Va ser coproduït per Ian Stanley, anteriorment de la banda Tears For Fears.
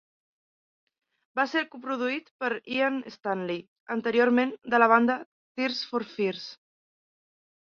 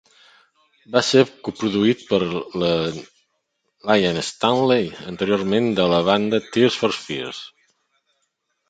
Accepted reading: first